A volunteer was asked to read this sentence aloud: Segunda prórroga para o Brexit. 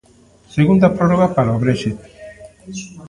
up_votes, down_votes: 2, 0